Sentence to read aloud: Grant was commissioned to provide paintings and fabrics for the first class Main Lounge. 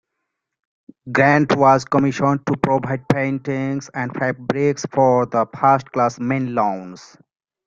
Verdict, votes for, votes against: rejected, 0, 2